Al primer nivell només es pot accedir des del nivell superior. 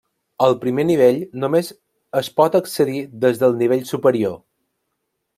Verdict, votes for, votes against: accepted, 2, 0